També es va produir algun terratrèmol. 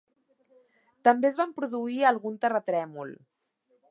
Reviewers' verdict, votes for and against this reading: accepted, 2, 1